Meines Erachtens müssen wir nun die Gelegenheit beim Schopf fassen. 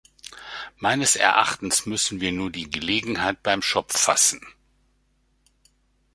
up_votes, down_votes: 0, 2